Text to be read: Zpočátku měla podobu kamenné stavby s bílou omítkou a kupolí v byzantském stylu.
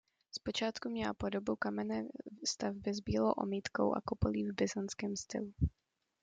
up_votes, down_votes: 2, 0